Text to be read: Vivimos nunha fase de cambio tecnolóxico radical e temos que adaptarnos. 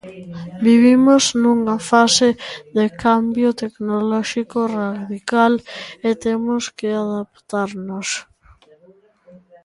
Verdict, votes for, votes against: rejected, 1, 2